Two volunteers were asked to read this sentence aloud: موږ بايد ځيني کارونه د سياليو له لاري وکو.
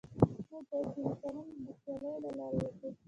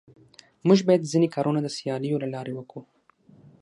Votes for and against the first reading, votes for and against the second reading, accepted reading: 1, 2, 6, 0, second